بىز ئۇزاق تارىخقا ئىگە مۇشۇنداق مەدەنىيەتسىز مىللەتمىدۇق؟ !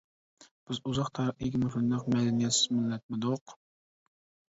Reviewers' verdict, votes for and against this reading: rejected, 0, 2